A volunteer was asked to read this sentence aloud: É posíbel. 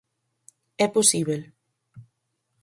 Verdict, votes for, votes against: accepted, 6, 0